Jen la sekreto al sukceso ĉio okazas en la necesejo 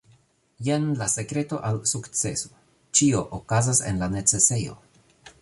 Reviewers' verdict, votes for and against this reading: accepted, 3, 1